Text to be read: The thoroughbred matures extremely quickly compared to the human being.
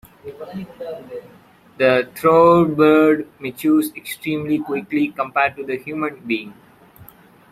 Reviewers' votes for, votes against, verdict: 0, 2, rejected